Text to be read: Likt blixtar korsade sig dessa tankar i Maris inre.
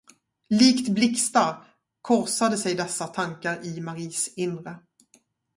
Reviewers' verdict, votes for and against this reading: accepted, 2, 0